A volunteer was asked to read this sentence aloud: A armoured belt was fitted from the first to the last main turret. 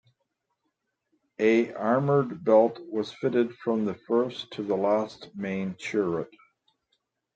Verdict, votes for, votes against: accepted, 2, 0